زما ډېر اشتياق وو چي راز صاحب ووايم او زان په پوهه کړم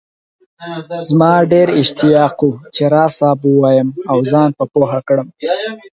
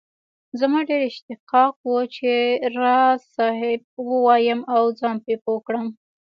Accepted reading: first